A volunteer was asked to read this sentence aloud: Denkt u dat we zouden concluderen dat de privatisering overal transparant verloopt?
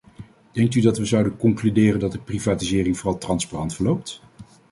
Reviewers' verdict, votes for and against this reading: rejected, 1, 2